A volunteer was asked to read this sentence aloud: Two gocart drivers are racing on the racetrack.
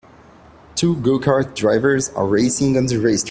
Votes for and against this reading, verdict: 0, 2, rejected